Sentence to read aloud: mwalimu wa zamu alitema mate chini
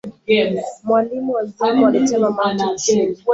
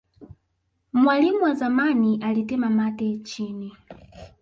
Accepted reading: first